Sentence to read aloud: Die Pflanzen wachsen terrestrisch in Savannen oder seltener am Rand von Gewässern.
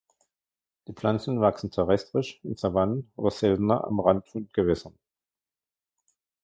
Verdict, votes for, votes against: accepted, 2, 1